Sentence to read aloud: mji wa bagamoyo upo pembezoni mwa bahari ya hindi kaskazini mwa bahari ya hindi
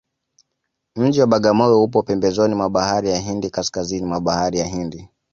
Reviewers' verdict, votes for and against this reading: accepted, 2, 0